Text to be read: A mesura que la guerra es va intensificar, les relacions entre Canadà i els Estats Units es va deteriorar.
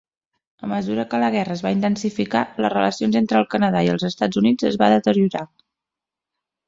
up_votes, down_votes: 0, 2